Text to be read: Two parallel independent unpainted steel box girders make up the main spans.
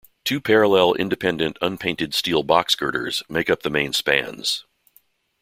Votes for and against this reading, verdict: 2, 0, accepted